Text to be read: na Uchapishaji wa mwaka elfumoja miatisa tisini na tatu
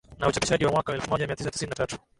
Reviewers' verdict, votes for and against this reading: accepted, 2, 0